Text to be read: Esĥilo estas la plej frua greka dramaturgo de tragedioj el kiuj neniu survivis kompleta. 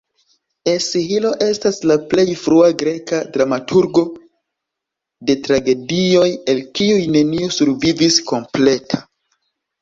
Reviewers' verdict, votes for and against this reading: rejected, 0, 2